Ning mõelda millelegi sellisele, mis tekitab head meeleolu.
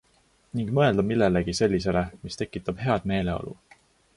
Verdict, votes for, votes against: accepted, 2, 0